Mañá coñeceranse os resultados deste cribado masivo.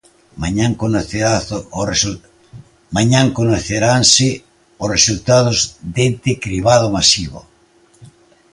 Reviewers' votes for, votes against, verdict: 0, 2, rejected